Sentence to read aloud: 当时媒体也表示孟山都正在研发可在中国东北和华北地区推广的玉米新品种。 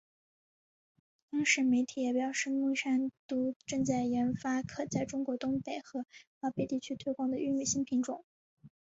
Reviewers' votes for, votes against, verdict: 0, 4, rejected